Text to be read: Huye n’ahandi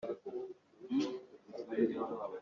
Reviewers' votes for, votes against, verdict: 0, 2, rejected